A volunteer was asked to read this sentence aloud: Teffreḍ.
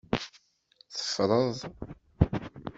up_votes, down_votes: 2, 0